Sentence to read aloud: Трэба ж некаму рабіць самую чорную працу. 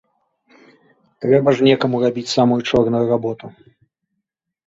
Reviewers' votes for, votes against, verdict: 1, 2, rejected